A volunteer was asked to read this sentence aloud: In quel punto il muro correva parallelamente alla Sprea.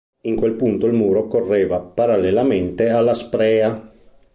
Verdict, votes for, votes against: accepted, 2, 0